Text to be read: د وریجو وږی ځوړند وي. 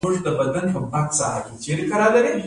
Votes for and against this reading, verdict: 1, 2, rejected